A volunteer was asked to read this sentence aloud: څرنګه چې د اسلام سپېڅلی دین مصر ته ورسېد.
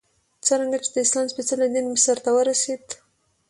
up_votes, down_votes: 2, 0